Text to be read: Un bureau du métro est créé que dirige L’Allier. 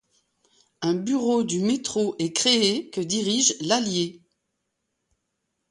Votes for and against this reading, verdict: 2, 0, accepted